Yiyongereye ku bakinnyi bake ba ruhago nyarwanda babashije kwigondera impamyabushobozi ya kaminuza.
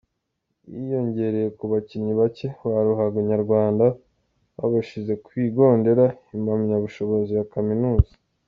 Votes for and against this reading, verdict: 2, 0, accepted